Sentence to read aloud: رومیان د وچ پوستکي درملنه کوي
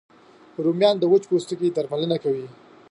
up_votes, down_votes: 4, 0